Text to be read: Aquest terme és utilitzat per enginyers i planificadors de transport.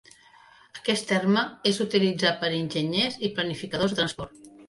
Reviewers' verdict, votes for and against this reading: rejected, 1, 2